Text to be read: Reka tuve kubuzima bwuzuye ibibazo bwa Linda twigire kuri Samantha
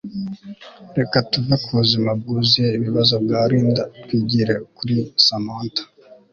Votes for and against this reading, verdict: 2, 0, accepted